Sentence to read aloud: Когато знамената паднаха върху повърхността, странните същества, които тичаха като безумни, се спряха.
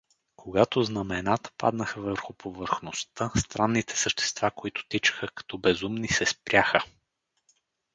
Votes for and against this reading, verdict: 2, 2, rejected